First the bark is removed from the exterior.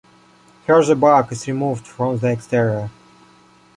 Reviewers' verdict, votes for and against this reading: accepted, 2, 0